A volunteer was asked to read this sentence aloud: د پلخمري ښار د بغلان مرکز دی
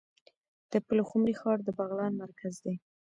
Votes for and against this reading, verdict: 0, 2, rejected